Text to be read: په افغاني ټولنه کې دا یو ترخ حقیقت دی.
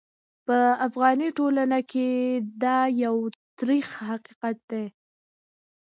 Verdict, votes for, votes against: accepted, 2, 1